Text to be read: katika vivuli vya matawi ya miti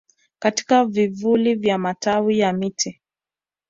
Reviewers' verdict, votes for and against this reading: rejected, 0, 2